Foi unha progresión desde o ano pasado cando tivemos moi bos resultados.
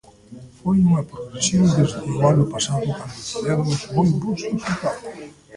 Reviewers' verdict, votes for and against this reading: rejected, 0, 2